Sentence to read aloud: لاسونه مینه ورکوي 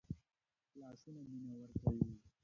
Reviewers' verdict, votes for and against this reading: rejected, 1, 5